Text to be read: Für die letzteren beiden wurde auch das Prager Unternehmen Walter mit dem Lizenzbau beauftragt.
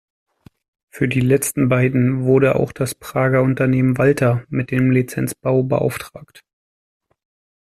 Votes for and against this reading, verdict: 0, 2, rejected